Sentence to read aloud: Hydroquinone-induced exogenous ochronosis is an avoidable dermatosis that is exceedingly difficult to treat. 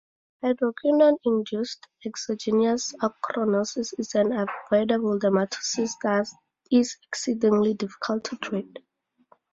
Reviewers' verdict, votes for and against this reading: rejected, 2, 2